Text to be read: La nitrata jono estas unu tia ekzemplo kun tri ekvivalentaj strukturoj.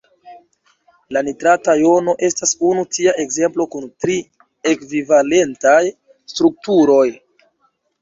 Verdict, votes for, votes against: accepted, 2, 0